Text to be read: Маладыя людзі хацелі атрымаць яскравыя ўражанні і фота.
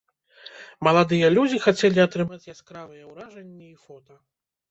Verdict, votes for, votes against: accepted, 2, 0